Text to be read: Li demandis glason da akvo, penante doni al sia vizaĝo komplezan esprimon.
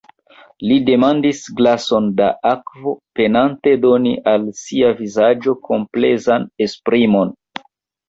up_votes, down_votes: 1, 2